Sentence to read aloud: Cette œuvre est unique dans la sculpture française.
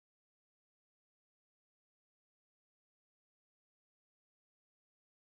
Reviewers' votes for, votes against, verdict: 0, 2, rejected